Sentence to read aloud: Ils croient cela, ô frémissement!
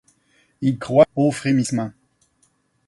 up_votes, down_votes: 2, 4